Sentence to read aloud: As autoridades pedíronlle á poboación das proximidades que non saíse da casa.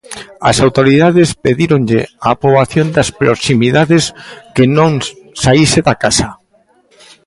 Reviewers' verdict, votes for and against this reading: rejected, 1, 2